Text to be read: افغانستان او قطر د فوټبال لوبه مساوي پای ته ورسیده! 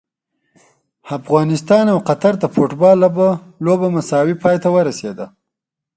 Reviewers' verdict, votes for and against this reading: accepted, 2, 0